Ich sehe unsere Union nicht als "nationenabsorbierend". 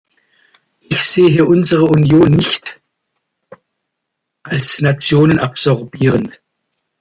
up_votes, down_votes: 0, 2